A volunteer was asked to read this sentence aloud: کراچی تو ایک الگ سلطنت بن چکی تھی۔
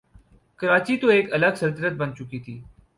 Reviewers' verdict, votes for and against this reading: accepted, 4, 0